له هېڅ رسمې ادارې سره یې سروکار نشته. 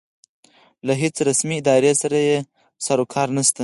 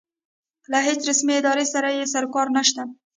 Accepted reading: second